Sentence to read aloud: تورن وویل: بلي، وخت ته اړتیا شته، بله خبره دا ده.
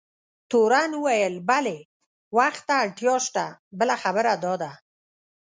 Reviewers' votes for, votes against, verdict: 1, 2, rejected